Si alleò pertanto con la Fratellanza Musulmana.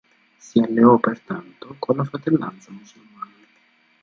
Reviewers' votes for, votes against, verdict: 0, 2, rejected